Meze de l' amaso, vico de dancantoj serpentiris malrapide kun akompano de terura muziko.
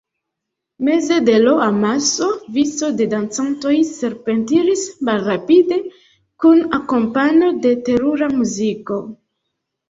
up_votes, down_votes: 0, 2